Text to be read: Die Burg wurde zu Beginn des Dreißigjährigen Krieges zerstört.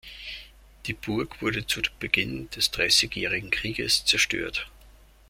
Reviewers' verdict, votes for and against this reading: rejected, 1, 2